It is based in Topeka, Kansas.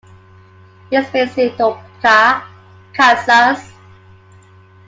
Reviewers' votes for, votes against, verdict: 0, 2, rejected